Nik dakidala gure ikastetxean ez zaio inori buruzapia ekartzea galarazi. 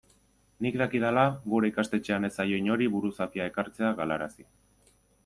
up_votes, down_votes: 2, 0